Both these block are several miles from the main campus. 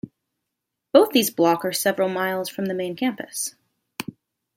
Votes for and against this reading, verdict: 1, 2, rejected